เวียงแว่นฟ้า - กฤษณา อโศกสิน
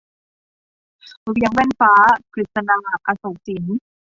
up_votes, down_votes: 2, 1